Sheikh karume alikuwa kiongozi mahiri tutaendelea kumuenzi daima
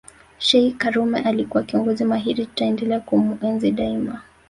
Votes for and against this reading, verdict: 1, 2, rejected